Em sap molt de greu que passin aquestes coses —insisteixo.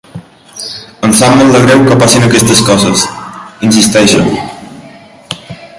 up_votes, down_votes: 2, 1